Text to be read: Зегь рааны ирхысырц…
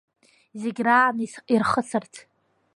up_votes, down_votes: 1, 2